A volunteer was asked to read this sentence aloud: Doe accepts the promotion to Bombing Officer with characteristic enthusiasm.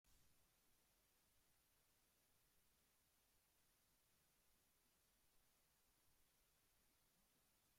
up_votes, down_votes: 0, 2